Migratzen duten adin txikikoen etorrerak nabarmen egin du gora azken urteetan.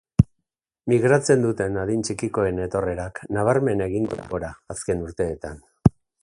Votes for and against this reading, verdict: 2, 0, accepted